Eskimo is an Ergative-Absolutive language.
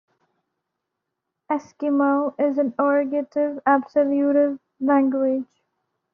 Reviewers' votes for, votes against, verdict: 2, 1, accepted